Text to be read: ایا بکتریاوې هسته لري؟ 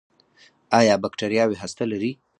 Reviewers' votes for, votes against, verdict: 2, 4, rejected